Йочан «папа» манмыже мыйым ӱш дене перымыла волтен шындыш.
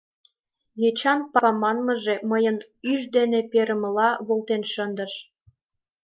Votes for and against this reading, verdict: 0, 2, rejected